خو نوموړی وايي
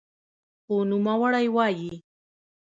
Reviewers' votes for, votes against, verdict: 2, 0, accepted